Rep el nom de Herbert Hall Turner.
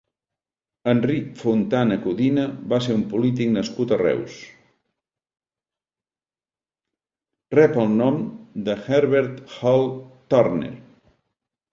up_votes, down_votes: 1, 2